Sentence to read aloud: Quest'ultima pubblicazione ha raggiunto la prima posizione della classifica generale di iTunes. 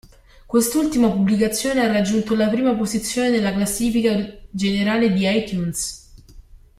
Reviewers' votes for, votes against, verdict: 0, 2, rejected